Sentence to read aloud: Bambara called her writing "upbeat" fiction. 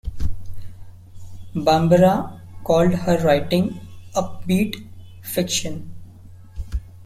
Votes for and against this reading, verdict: 2, 0, accepted